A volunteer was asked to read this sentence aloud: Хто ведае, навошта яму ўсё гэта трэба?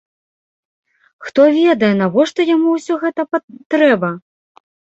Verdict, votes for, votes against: rejected, 1, 2